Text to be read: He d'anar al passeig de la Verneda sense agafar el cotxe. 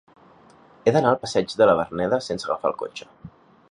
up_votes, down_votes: 3, 0